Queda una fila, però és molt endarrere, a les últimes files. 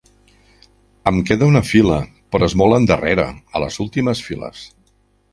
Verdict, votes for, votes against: rejected, 0, 2